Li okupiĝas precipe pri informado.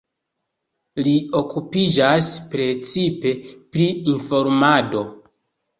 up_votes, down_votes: 2, 0